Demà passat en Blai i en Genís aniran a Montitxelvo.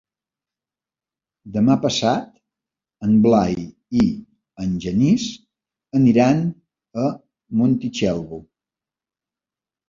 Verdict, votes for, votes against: accepted, 3, 0